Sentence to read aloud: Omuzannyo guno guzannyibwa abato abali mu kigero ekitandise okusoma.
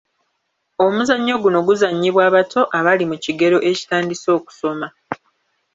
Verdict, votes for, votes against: accepted, 2, 1